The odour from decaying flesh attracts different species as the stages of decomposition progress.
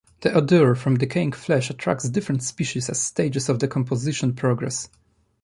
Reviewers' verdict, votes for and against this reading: rejected, 0, 2